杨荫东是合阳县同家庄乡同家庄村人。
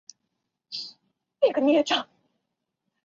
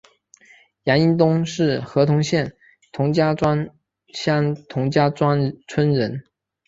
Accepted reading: second